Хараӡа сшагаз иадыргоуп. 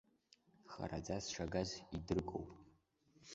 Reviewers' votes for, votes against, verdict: 1, 2, rejected